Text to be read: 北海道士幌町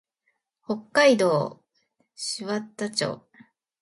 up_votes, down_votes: 0, 2